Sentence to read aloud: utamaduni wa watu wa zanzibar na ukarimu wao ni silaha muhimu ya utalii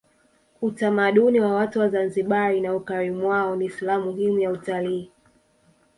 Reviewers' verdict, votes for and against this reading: rejected, 1, 2